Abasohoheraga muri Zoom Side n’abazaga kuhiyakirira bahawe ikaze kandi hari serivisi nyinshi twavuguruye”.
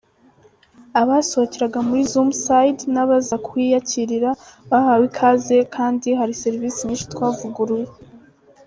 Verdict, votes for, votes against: rejected, 0, 2